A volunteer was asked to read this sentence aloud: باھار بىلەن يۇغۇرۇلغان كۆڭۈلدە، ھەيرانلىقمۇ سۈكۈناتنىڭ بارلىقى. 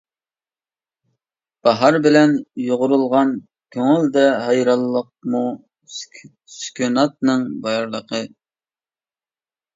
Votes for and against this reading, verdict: 1, 2, rejected